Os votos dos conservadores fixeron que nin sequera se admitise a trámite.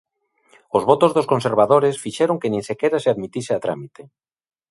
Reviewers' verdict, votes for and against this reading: accepted, 2, 0